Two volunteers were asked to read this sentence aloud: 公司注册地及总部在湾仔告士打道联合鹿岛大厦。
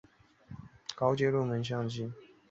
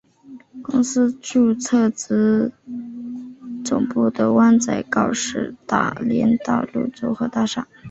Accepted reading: second